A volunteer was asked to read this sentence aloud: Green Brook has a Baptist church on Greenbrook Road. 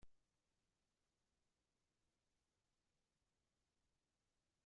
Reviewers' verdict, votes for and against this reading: rejected, 0, 2